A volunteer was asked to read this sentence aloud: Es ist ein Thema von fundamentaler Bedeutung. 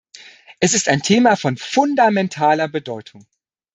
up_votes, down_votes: 2, 0